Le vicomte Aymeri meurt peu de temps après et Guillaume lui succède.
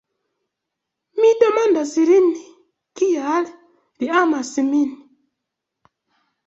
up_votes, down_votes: 0, 2